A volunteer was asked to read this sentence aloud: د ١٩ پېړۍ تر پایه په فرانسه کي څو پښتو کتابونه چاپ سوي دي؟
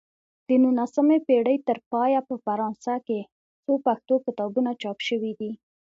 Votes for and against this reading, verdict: 0, 2, rejected